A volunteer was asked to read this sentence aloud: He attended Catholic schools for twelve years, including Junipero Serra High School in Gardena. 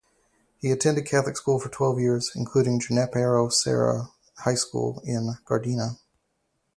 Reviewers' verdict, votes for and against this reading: rejected, 2, 4